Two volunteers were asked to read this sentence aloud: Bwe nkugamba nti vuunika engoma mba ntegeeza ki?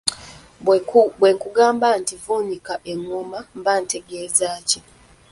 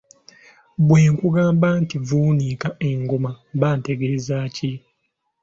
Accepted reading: second